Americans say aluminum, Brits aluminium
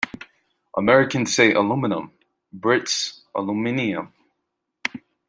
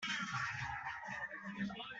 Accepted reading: first